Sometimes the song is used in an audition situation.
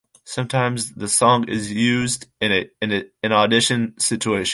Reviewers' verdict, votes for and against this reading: rejected, 0, 2